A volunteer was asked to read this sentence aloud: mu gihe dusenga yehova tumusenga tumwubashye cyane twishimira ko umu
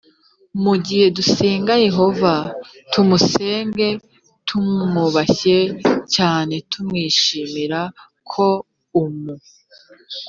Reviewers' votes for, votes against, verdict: 1, 2, rejected